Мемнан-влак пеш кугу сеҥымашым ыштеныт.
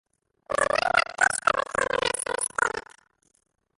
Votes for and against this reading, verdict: 0, 2, rejected